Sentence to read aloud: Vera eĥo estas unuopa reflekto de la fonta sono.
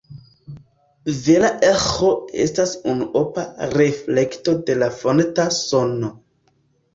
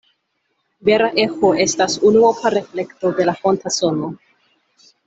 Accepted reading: second